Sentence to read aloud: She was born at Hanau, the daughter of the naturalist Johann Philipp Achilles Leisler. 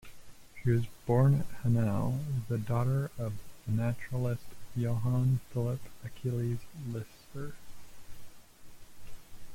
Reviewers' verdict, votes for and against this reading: rejected, 0, 2